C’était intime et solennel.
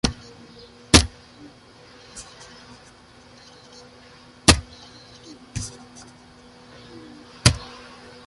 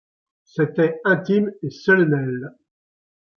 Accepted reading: second